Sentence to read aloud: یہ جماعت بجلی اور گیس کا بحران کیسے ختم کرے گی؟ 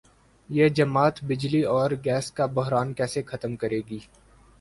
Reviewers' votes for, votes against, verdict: 4, 0, accepted